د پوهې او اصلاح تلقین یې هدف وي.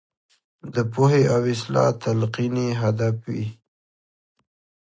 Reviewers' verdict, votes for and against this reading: accepted, 3, 0